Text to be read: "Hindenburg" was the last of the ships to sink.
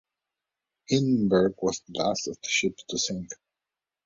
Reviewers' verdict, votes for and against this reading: accepted, 2, 1